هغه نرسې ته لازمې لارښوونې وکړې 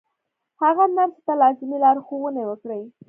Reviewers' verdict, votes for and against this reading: accepted, 2, 0